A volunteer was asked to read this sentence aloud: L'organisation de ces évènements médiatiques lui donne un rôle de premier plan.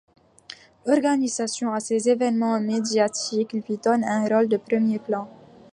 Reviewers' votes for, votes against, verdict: 2, 0, accepted